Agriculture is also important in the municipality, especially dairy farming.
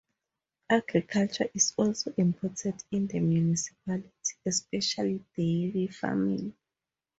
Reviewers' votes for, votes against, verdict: 2, 0, accepted